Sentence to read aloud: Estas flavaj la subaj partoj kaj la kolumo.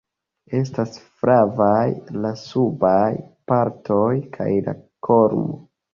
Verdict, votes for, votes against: accepted, 2, 0